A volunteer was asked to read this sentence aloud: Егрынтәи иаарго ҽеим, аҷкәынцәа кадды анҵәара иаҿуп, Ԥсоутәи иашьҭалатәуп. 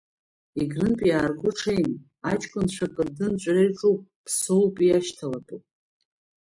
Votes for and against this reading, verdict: 1, 2, rejected